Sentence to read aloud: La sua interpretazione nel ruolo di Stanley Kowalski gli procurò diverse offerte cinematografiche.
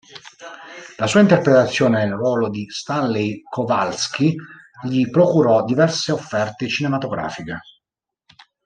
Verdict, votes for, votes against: rejected, 1, 2